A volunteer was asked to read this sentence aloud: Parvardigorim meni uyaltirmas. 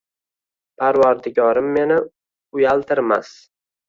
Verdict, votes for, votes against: rejected, 1, 2